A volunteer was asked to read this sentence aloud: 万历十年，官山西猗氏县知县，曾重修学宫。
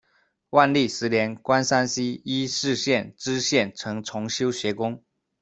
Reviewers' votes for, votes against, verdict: 2, 0, accepted